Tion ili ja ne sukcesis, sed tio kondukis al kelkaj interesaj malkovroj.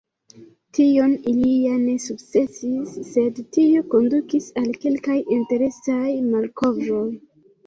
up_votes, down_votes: 0, 2